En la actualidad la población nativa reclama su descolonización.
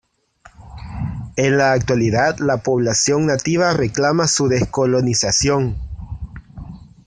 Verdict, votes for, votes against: accepted, 2, 0